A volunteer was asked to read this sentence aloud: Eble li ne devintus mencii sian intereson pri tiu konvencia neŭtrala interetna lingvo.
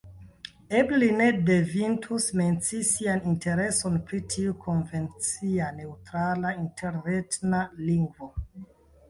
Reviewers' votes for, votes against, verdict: 0, 2, rejected